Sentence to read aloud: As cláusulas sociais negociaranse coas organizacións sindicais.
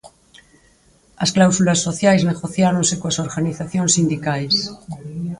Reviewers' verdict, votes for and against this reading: rejected, 0, 4